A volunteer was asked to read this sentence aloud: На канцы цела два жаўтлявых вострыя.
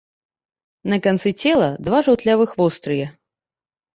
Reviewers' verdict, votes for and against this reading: accepted, 2, 0